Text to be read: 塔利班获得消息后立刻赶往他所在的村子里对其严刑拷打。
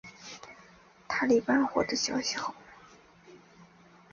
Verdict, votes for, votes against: accepted, 3, 1